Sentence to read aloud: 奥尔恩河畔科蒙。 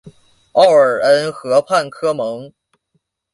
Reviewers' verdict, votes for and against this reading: accepted, 2, 0